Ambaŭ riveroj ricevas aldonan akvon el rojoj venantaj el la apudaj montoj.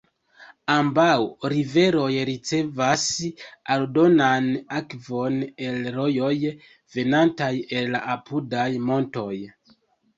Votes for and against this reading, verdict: 1, 2, rejected